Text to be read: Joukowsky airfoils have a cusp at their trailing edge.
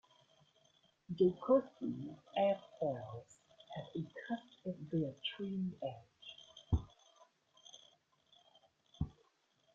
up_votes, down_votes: 0, 2